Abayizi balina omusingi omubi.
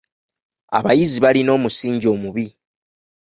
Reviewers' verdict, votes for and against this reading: accepted, 2, 0